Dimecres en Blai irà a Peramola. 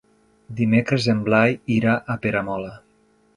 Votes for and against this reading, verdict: 3, 0, accepted